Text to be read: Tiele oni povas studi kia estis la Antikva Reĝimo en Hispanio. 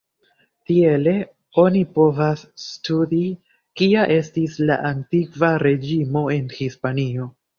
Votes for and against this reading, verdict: 2, 0, accepted